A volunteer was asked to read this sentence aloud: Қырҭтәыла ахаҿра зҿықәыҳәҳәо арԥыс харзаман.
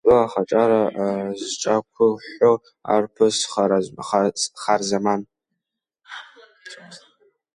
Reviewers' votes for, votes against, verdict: 0, 3, rejected